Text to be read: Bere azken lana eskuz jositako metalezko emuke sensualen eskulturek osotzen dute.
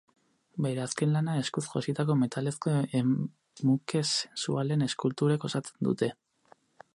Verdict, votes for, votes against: rejected, 2, 4